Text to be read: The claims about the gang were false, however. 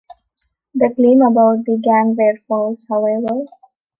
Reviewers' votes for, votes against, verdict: 0, 2, rejected